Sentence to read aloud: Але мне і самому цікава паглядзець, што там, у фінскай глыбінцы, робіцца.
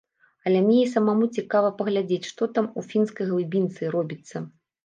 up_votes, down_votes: 0, 2